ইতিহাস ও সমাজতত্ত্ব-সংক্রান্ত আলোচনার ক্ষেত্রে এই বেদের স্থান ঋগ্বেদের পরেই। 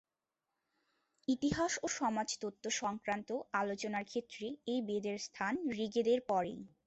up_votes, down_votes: 2, 0